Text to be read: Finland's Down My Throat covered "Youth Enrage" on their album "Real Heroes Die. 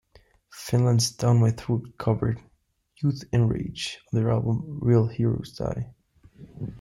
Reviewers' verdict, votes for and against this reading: accepted, 2, 1